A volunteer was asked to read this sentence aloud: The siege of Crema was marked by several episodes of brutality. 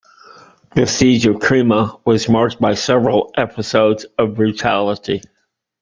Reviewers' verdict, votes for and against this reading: rejected, 1, 2